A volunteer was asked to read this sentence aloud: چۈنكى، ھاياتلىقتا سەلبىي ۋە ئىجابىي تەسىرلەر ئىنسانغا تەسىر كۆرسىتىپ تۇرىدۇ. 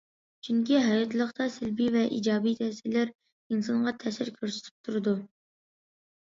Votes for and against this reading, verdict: 2, 0, accepted